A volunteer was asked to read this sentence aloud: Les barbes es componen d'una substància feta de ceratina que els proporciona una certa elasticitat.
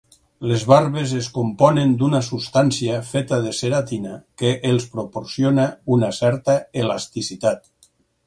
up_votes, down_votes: 6, 0